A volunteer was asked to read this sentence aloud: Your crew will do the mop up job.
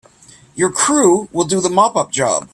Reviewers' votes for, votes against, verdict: 2, 0, accepted